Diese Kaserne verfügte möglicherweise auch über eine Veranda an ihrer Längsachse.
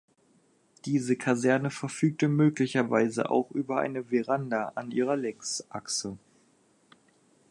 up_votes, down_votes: 2, 0